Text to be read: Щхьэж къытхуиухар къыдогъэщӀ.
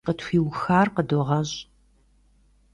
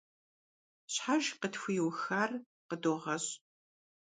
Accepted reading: second